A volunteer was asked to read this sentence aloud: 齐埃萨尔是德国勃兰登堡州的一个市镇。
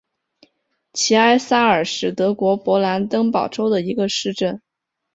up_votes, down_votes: 5, 0